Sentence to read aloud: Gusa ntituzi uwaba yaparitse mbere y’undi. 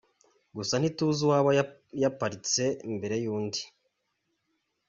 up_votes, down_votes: 2, 1